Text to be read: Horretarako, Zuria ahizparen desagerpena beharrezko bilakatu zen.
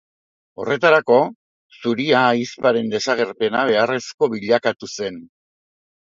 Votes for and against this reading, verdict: 2, 0, accepted